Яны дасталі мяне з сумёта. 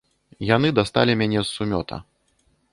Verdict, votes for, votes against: accepted, 2, 0